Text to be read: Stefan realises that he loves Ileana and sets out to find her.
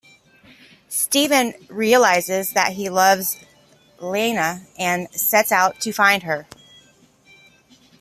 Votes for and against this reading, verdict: 2, 0, accepted